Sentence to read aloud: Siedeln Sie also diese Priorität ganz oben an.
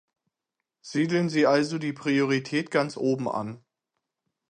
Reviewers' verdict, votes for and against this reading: rejected, 0, 6